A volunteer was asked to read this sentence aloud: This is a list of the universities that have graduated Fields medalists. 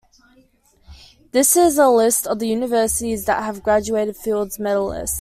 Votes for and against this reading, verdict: 2, 0, accepted